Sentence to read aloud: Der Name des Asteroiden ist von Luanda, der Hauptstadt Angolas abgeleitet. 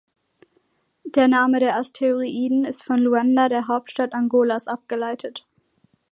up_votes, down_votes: 2, 1